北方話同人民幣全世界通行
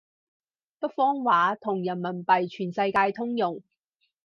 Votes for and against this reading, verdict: 2, 4, rejected